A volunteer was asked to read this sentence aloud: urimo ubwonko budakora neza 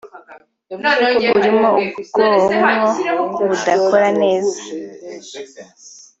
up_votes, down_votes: 2, 1